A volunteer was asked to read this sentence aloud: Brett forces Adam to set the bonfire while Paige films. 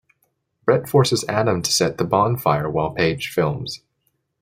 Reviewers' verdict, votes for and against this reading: accepted, 2, 0